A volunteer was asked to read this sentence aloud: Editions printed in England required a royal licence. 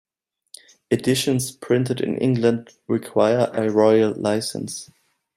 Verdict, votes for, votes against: rejected, 0, 2